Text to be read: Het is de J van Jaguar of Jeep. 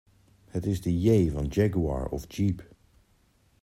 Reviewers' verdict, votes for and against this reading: accepted, 2, 0